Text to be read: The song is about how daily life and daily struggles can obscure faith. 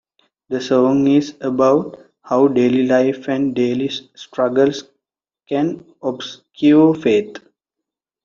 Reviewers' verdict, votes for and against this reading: rejected, 1, 2